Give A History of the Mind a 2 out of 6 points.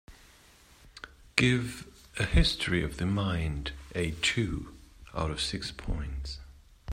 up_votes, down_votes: 0, 2